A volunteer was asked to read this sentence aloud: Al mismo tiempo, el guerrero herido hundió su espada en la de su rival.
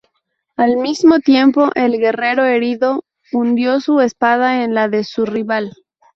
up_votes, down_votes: 0, 2